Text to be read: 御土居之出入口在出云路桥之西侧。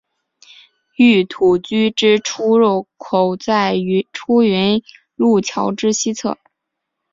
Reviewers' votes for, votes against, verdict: 1, 2, rejected